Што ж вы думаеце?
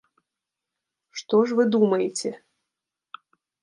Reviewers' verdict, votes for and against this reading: accepted, 2, 0